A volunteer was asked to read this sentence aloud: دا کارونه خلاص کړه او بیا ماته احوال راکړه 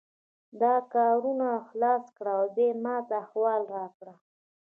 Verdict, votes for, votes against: accepted, 2, 1